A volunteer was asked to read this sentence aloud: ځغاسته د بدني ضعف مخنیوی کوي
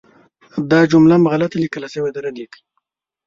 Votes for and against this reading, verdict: 1, 2, rejected